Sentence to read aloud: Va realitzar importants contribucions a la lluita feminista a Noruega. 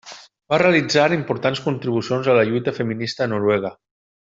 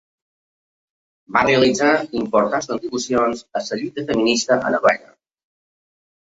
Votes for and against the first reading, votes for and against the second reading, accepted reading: 2, 0, 0, 2, first